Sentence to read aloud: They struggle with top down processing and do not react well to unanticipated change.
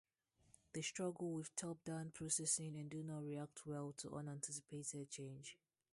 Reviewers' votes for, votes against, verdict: 0, 2, rejected